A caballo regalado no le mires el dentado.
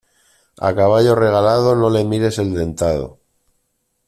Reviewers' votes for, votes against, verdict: 2, 1, accepted